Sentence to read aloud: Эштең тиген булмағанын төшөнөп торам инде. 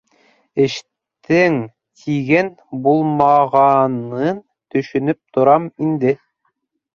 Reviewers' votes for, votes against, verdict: 1, 3, rejected